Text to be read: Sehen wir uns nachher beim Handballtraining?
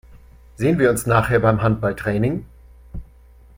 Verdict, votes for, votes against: accepted, 3, 0